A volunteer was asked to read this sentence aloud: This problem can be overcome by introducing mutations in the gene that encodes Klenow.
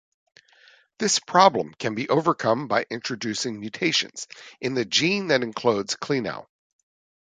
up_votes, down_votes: 0, 2